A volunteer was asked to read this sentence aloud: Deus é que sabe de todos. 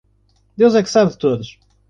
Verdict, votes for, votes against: accepted, 2, 0